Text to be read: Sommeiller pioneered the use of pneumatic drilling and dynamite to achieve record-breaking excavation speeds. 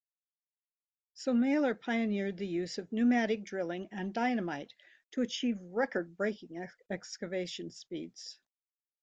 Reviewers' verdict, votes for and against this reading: rejected, 0, 2